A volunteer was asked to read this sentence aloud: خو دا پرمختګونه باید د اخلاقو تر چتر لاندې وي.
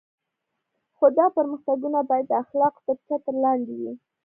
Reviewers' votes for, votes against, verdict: 1, 2, rejected